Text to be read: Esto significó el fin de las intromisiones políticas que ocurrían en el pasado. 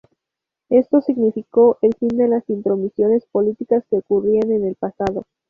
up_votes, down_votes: 2, 0